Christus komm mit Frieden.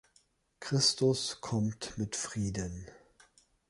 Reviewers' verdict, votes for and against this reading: rejected, 0, 2